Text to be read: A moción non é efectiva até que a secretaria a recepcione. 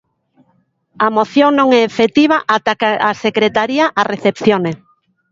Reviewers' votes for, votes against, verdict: 0, 2, rejected